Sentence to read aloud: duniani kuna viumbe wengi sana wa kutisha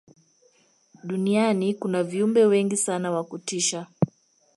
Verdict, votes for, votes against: accepted, 2, 0